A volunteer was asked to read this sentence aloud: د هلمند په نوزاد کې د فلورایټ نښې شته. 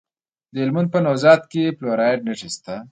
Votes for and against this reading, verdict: 2, 0, accepted